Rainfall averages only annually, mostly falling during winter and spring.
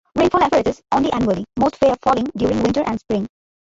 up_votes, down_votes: 1, 2